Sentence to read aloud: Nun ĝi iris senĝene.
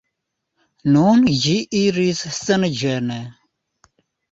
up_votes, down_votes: 2, 0